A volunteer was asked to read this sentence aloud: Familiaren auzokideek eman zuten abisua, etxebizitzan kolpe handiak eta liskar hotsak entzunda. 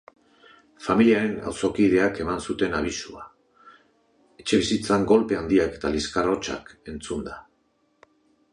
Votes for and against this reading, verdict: 2, 1, accepted